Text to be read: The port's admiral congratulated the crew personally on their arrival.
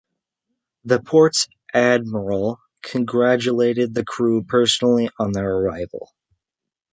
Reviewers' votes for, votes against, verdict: 3, 0, accepted